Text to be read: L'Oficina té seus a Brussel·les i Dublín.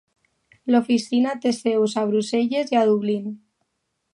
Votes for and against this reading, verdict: 0, 2, rejected